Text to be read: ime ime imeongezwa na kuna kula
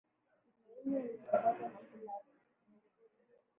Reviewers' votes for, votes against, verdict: 0, 2, rejected